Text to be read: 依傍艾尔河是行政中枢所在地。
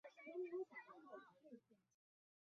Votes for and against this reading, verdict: 0, 2, rejected